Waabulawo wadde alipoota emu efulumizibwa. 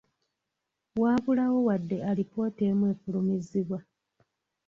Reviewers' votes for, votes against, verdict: 2, 0, accepted